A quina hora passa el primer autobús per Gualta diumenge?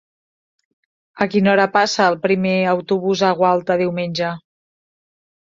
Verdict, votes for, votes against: rejected, 0, 2